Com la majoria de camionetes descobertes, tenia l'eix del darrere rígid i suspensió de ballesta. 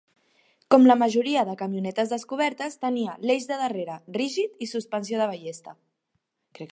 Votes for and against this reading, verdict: 1, 2, rejected